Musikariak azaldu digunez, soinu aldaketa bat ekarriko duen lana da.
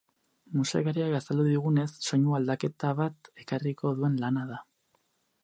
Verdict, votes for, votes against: rejected, 0, 4